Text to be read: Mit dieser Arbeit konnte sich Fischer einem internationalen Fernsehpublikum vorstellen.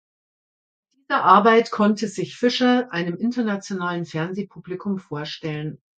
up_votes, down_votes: 0, 3